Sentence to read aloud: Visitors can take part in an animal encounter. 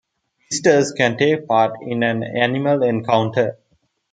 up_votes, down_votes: 2, 0